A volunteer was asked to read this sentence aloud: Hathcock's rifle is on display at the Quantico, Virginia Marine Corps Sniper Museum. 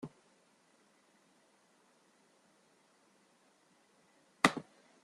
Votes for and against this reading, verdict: 0, 2, rejected